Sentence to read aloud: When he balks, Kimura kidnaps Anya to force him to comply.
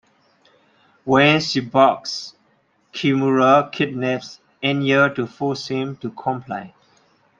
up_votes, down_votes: 1, 2